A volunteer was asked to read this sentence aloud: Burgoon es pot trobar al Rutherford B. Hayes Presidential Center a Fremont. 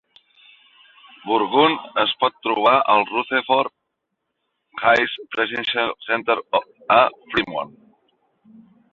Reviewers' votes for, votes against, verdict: 0, 4, rejected